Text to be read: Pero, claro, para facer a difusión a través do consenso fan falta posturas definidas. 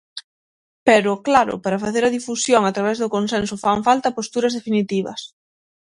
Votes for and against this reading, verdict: 3, 6, rejected